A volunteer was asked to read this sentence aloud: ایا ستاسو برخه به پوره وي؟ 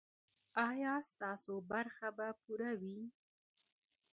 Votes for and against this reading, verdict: 1, 2, rejected